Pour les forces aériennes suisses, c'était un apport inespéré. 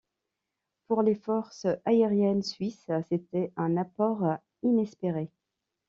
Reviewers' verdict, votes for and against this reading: accepted, 2, 0